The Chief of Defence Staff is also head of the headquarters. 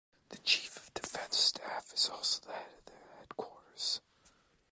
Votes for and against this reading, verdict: 1, 2, rejected